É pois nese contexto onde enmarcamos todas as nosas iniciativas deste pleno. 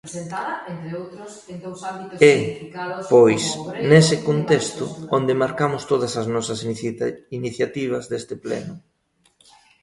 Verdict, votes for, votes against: rejected, 0, 2